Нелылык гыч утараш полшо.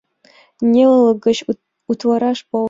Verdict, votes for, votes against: rejected, 1, 2